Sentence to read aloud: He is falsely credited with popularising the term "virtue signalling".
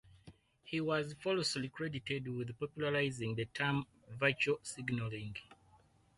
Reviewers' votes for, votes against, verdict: 0, 4, rejected